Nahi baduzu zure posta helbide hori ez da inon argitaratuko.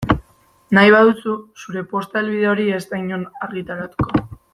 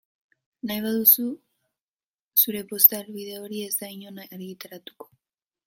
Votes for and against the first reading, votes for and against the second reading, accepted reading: 2, 0, 1, 2, first